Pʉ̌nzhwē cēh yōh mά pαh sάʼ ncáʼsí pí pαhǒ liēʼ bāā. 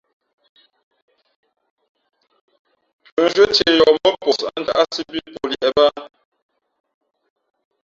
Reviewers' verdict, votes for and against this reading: rejected, 0, 3